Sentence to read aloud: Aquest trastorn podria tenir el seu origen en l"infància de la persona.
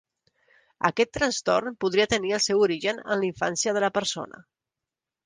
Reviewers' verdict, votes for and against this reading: accepted, 2, 0